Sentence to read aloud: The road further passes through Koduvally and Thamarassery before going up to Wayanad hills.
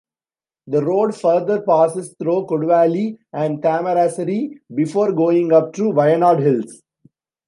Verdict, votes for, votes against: accepted, 2, 0